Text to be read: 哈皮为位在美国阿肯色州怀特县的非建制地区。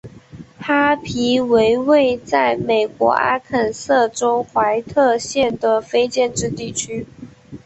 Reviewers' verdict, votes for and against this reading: accepted, 3, 0